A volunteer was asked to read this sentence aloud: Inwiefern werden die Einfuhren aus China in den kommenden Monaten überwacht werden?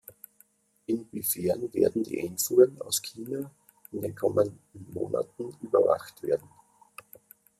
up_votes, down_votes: 3, 0